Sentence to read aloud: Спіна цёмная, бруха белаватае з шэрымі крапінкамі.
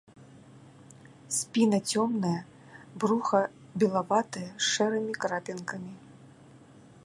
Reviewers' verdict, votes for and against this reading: rejected, 0, 2